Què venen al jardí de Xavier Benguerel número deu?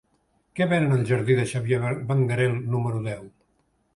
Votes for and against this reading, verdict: 1, 2, rejected